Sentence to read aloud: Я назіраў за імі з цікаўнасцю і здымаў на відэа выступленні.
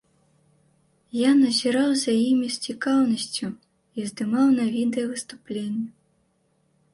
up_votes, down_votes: 2, 0